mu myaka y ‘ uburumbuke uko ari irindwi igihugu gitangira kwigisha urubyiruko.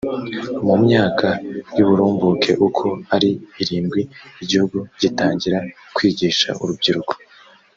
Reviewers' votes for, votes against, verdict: 2, 0, accepted